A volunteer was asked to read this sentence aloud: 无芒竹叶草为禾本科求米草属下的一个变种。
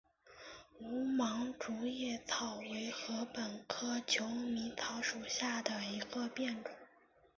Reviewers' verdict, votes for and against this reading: accepted, 3, 0